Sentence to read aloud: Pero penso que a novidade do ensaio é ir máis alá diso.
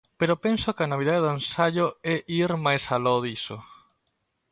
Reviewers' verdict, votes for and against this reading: rejected, 0, 2